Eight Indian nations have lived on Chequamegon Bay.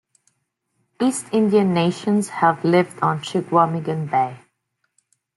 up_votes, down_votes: 0, 2